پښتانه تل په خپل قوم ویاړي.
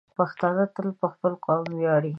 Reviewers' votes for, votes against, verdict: 2, 0, accepted